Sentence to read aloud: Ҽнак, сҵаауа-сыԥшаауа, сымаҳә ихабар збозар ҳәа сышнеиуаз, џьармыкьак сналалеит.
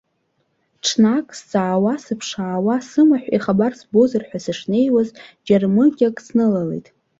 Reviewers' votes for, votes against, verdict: 1, 2, rejected